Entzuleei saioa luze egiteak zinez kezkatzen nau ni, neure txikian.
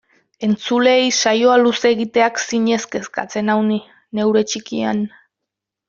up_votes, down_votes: 2, 0